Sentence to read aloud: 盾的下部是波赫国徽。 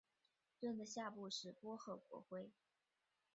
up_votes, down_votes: 2, 3